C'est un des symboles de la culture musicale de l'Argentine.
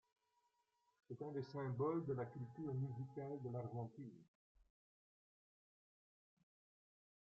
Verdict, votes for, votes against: accepted, 2, 0